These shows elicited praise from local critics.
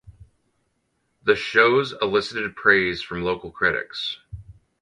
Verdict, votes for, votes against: rejected, 2, 4